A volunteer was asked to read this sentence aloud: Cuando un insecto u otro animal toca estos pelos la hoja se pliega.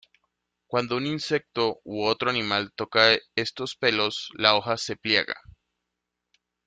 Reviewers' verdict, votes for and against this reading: accepted, 2, 0